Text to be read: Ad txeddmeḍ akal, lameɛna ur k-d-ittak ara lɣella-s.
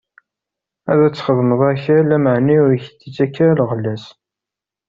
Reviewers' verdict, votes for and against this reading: rejected, 0, 2